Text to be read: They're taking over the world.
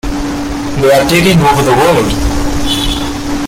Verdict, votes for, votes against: rejected, 1, 2